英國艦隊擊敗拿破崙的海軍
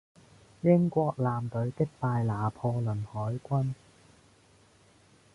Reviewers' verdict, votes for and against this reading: rejected, 1, 2